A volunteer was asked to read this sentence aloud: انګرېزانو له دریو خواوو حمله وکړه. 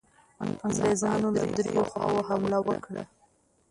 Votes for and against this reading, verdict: 0, 2, rejected